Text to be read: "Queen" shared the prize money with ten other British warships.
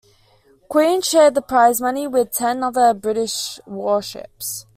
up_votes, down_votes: 2, 0